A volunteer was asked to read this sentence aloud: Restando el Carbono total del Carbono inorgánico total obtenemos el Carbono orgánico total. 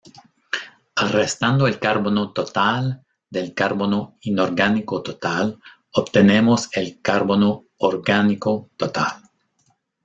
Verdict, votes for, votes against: rejected, 0, 2